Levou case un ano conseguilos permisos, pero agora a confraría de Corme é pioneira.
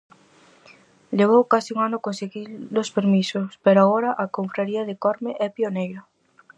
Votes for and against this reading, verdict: 2, 4, rejected